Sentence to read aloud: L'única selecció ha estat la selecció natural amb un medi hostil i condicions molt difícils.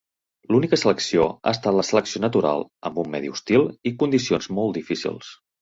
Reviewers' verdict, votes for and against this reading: accepted, 3, 0